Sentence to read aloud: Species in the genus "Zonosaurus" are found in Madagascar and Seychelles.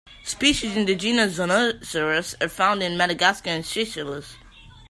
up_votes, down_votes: 2, 1